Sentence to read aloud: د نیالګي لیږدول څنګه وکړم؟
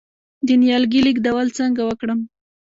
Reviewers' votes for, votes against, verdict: 0, 2, rejected